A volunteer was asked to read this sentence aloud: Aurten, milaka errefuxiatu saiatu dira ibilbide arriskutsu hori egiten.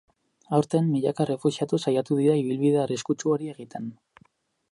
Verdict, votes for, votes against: accepted, 4, 0